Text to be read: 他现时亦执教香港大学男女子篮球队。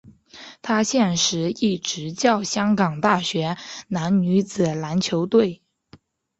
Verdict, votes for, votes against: accepted, 5, 0